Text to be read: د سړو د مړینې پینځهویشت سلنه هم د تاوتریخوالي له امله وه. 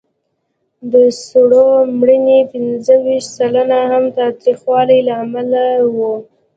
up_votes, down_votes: 2, 0